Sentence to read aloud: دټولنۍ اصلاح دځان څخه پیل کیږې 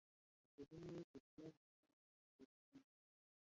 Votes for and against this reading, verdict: 0, 2, rejected